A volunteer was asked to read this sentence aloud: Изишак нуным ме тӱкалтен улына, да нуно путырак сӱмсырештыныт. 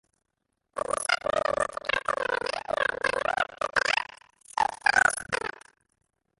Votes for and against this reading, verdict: 0, 2, rejected